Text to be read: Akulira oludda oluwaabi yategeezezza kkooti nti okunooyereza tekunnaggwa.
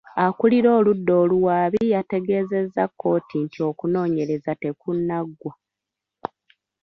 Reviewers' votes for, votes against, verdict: 2, 0, accepted